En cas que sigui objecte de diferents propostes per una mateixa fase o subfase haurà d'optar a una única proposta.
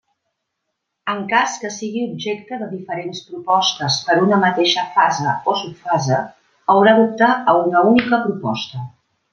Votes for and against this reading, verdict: 2, 0, accepted